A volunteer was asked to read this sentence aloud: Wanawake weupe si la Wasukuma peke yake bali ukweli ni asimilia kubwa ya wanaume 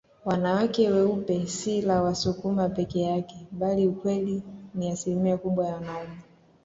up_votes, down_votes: 2, 0